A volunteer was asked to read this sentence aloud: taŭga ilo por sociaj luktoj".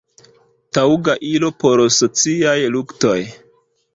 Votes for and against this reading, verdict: 2, 0, accepted